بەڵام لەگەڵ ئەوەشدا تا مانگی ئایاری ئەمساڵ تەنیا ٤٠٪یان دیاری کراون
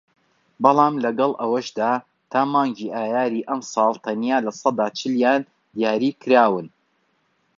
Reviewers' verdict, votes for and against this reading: rejected, 0, 2